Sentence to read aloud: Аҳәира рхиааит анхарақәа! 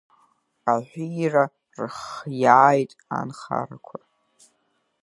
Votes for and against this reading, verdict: 1, 2, rejected